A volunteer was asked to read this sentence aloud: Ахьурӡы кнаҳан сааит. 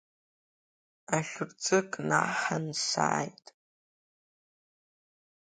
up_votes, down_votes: 2, 1